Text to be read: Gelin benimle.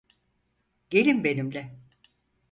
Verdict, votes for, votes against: accepted, 4, 0